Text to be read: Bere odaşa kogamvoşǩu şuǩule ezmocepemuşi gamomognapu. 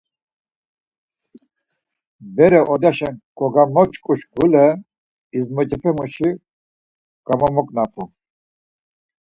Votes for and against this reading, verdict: 4, 0, accepted